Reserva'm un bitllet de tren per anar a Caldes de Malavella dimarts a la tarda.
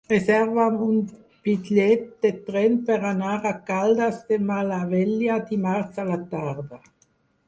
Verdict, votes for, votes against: accepted, 4, 0